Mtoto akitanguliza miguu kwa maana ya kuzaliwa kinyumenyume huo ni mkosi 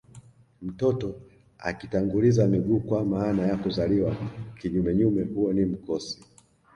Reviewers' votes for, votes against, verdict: 2, 1, accepted